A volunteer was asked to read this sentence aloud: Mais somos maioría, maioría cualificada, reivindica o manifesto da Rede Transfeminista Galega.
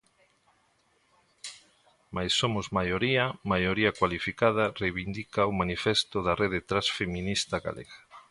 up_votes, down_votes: 2, 0